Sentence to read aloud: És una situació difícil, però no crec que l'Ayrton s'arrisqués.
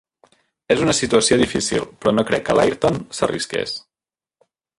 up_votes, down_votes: 4, 0